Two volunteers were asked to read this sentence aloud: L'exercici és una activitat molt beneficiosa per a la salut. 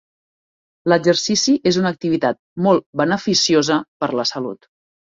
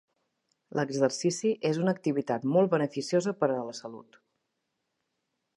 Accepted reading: second